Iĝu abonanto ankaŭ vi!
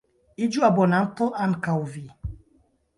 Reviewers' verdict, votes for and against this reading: rejected, 1, 2